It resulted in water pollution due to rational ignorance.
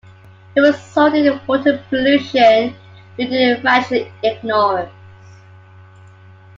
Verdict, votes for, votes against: rejected, 0, 2